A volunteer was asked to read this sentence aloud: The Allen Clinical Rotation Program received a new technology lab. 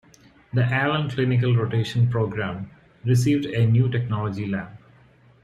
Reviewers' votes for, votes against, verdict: 2, 0, accepted